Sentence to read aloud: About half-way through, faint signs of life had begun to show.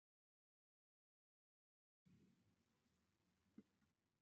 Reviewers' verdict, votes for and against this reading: rejected, 0, 2